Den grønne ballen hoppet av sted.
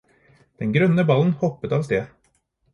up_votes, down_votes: 4, 0